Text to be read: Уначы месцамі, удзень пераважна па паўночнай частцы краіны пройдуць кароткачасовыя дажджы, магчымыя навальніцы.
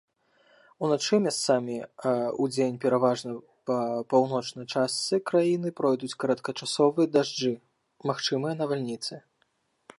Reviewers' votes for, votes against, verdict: 0, 2, rejected